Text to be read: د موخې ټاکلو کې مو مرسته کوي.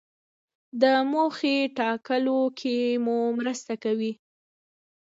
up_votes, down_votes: 2, 1